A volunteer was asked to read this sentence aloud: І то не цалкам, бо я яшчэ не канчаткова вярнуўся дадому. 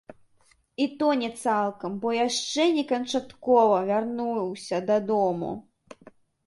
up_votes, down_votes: 2, 0